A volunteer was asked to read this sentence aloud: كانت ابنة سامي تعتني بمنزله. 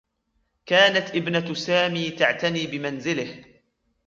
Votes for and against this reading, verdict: 2, 1, accepted